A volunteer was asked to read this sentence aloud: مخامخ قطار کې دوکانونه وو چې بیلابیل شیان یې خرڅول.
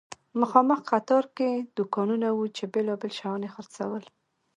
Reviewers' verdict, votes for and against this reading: accepted, 2, 0